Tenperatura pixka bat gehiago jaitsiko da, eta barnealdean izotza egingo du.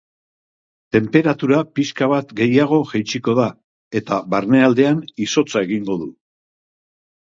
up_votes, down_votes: 2, 0